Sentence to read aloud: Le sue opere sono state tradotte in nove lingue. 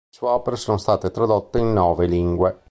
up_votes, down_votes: 3, 4